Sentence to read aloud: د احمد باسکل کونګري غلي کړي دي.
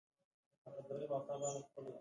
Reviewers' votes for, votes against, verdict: 3, 2, accepted